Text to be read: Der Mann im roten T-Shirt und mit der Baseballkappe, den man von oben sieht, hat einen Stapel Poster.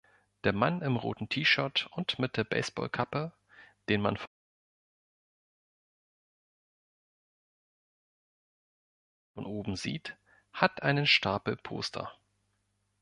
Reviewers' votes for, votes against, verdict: 1, 2, rejected